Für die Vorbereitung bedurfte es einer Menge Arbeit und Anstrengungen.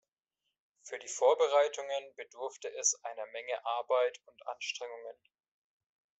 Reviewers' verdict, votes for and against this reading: rejected, 1, 2